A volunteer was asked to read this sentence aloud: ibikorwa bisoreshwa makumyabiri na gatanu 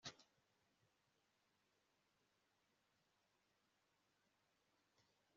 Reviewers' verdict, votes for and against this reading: rejected, 1, 2